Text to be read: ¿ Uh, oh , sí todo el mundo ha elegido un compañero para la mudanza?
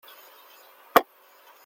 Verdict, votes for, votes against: rejected, 0, 2